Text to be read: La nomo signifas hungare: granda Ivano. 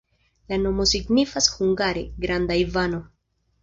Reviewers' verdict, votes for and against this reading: rejected, 1, 2